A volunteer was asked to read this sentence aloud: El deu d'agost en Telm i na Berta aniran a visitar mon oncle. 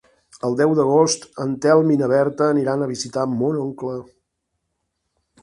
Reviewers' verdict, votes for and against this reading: accepted, 3, 0